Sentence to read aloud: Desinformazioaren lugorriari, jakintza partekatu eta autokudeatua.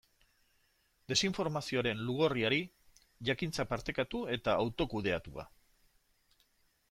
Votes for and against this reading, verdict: 2, 0, accepted